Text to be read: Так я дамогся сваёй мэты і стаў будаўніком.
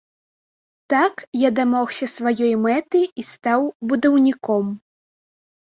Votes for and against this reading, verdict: 2, 0, accepted